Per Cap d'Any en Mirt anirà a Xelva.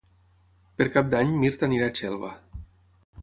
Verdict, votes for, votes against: rejected, 3, 6